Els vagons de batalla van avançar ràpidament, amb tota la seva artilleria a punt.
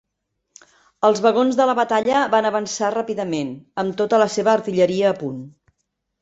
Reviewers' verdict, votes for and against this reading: rejected, 0, 2